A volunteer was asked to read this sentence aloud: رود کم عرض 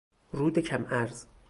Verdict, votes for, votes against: rejected, 2, 2